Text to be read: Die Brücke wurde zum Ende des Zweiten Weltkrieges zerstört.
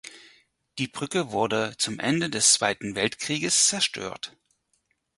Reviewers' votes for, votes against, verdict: 4, 0, accepted